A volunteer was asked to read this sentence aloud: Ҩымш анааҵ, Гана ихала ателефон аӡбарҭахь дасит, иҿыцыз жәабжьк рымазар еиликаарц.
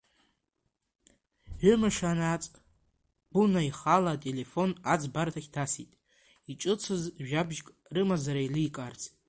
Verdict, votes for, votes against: accepted, 2, 0